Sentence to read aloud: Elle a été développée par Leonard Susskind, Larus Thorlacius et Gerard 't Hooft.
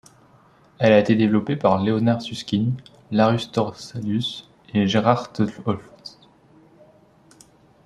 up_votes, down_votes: 0, 3